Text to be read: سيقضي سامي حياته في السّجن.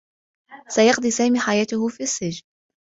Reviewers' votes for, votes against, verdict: 1, 2, rejected